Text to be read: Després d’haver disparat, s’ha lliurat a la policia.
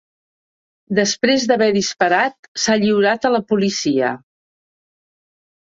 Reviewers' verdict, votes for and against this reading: accepted, 3, 0